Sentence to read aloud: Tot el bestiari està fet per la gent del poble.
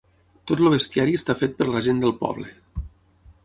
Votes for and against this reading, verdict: 3, 6, rejected